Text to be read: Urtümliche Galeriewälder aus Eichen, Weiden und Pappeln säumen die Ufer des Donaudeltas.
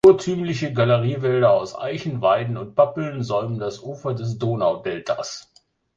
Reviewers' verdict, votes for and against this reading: rejected, 0, 2